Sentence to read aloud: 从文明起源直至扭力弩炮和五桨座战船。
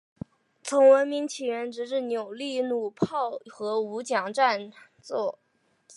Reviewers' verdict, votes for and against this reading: accepted, 2, 1